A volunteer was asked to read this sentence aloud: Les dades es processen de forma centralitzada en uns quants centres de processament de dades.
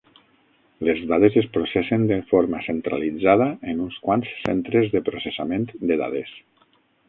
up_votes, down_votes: 3, 6